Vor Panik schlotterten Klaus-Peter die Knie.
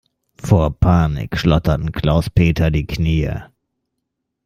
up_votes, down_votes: 2, 0